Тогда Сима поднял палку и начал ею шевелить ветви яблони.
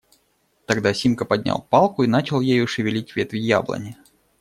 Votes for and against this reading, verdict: 0, 2, rejected